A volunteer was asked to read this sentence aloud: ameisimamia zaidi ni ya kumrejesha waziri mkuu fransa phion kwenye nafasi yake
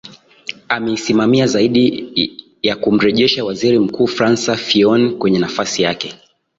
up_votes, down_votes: 2, 0